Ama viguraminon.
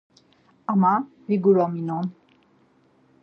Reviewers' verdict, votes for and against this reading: accepted, 4, 2